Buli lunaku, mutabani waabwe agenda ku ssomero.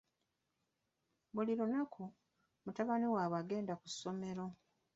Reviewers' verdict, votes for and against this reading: rejected, 1, 2